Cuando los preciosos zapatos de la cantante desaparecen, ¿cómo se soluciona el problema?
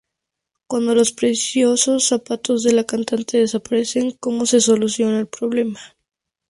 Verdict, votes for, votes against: accepted, 2, 0